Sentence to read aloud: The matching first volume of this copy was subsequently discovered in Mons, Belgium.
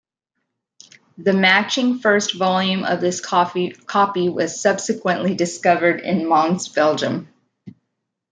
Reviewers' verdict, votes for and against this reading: rejected, 0, 2